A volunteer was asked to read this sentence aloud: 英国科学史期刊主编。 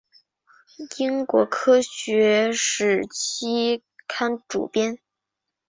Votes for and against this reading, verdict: 3, 0, accepted